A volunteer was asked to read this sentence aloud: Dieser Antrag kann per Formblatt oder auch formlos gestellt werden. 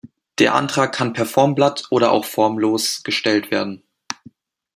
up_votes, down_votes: 1, 2